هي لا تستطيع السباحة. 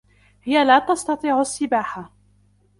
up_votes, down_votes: 2, 0